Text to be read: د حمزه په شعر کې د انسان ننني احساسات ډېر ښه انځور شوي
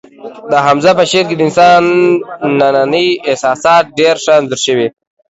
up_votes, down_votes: 2, 0